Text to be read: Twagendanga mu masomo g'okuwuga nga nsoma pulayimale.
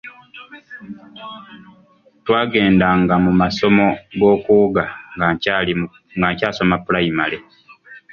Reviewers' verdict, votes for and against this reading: rejected, 2, 3